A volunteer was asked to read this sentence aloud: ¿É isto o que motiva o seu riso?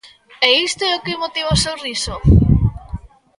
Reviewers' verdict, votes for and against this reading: accepted, 2, 0